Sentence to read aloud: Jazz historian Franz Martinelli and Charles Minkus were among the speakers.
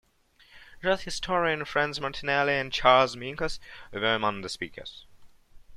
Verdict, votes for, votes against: accepted, 2, 0